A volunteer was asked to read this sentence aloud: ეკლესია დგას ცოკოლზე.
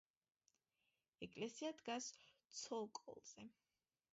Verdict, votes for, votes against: accepted, 2, 0